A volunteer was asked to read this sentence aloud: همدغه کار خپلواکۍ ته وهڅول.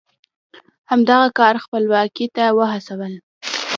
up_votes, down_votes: 2, 0